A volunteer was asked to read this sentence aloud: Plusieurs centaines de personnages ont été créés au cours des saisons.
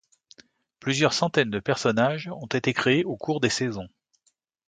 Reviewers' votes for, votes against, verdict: 2, 0, accepted